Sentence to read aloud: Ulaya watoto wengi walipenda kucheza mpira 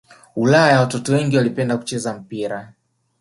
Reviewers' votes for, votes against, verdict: 2, 0, accepted